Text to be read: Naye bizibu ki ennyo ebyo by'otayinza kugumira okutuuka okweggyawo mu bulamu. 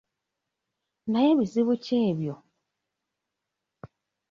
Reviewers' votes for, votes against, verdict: 0, 3, rejected